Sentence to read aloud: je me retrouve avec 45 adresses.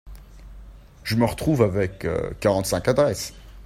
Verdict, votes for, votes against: rejected, 0, 2